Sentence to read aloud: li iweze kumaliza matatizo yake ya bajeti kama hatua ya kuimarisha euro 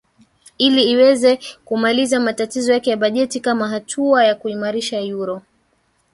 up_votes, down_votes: 1, 2